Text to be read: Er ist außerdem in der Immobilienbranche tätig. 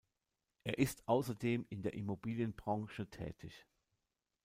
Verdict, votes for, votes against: rejected, 1, 2